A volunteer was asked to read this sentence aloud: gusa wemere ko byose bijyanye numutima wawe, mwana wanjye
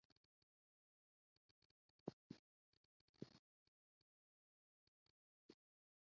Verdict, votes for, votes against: rejected, 0, 2